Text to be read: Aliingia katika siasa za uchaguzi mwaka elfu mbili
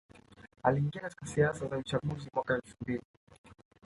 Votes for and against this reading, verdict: 2, 1, accepted